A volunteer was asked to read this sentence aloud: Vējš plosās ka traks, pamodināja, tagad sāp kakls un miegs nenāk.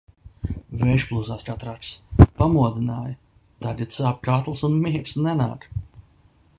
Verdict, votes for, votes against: rejected, 0, 2